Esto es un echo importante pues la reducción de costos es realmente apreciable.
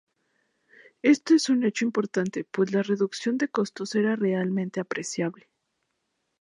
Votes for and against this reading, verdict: 0, 2, rejected